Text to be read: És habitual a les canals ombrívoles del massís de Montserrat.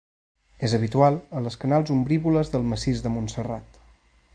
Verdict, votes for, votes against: accepted, 3, 0